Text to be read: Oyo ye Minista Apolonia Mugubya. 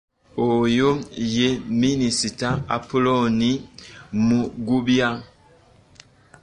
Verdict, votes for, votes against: rejected, 0, 2